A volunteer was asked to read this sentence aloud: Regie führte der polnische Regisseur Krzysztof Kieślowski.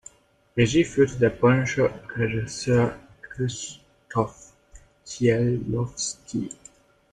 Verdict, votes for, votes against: rejected, 1, 2